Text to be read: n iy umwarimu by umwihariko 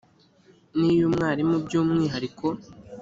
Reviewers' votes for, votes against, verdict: 2, 0, accepted